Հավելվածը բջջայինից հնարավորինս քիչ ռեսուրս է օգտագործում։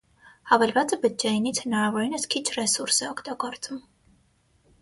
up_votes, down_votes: 6, 3